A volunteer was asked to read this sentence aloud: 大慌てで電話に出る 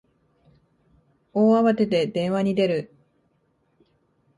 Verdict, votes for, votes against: accepted, 2, 0